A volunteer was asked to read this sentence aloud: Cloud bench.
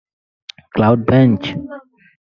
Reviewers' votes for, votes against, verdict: 4, 0, accepted